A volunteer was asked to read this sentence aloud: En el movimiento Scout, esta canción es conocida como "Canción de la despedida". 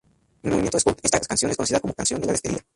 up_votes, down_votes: 0, 2